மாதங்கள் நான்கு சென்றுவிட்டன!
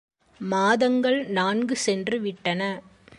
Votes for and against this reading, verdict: 2, 0, accepted